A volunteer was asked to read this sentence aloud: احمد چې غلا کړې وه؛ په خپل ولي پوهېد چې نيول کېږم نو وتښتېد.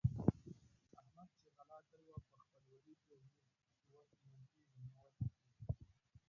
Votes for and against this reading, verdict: 0, 2, rejected